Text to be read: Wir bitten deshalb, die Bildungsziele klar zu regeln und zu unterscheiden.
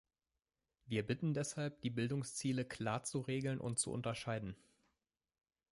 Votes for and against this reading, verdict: 2, 0, accepted